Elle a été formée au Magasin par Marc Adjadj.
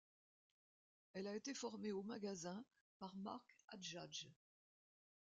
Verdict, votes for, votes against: accepted, 2, 0